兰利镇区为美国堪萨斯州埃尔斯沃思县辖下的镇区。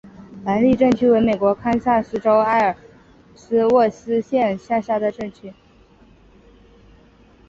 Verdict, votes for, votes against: accepted, 2, 0